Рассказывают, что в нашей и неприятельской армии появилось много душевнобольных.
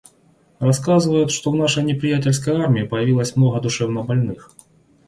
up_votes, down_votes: 0, 2